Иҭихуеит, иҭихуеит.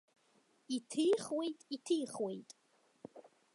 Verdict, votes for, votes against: accepted, 5, 0